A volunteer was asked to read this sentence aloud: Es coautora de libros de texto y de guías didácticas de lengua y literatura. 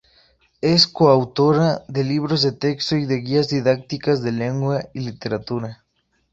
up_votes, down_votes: 4, 0